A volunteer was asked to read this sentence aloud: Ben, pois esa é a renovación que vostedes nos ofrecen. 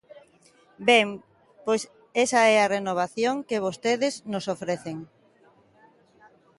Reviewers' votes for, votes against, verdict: 3, 0, accepted